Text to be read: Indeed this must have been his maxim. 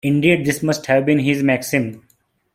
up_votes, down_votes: 2, 0